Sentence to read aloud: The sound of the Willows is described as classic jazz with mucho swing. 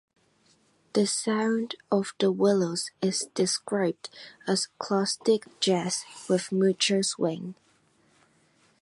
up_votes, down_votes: 1, 2